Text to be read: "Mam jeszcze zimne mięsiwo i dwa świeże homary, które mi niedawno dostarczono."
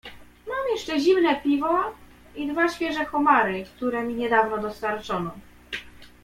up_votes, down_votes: 0, 2